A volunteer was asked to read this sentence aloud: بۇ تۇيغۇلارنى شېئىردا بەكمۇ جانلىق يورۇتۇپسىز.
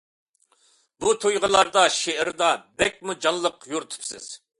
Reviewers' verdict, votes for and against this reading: rejected, 0, 2